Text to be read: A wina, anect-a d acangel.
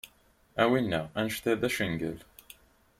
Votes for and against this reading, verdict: 2, 0, accepted